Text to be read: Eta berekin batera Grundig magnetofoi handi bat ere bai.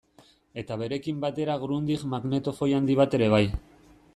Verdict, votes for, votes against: accepted, 2, 0